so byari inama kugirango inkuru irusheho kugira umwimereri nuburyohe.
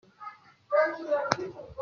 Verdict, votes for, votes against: rejected, 0, 2